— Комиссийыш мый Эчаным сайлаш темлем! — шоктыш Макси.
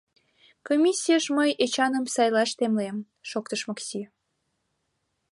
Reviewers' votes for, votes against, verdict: 5, 0, accepted